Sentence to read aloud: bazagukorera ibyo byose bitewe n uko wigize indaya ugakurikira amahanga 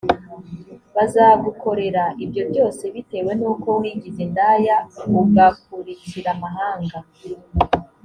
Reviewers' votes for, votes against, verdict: 2, 0, accepted